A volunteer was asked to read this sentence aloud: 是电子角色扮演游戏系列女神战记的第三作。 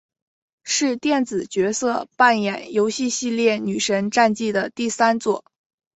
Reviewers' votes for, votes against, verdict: 2, 1, accepted